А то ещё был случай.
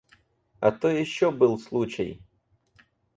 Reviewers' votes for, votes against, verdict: 4, 2, accepted